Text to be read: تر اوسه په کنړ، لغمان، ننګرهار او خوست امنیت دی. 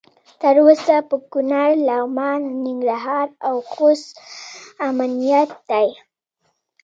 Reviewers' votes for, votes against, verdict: 2, 0, accepted